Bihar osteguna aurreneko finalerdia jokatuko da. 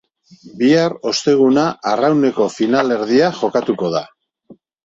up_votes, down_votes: 1, 2